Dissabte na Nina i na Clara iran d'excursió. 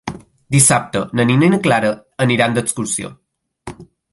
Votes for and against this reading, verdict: 1, 2, rejected